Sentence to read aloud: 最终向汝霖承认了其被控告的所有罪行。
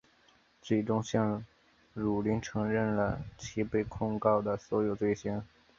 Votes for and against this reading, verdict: 3, 0, accepted